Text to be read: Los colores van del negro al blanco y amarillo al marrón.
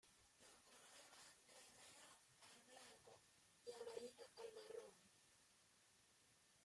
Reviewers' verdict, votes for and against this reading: rejected, 0, 3